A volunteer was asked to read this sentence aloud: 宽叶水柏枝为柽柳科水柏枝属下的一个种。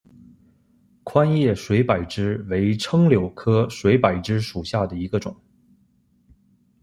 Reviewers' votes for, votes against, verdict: 2, 0, accepted